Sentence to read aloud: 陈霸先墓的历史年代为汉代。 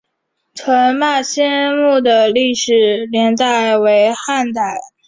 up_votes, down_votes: 3, 0